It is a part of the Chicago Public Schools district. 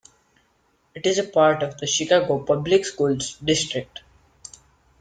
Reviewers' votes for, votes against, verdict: 2, 0, accepted